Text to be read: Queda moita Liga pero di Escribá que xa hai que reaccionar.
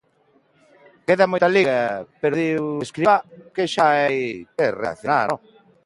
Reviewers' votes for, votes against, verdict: 1, 2, rejected